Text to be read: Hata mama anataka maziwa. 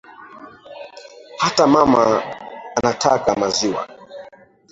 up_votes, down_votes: 0, 2